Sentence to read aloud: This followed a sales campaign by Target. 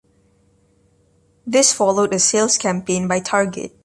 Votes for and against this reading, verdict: 1, 2, rejected